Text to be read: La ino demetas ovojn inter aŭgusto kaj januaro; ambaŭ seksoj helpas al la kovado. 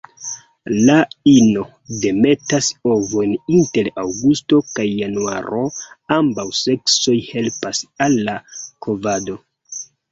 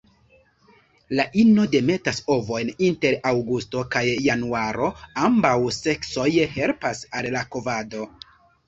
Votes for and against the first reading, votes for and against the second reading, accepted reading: 1, 2, 2, 1, second